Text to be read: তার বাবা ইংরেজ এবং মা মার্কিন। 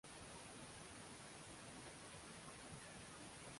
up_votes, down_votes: 0, 2